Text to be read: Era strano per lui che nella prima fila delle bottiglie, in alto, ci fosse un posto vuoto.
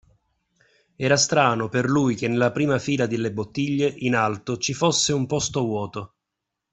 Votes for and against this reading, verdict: 2, 0, accepted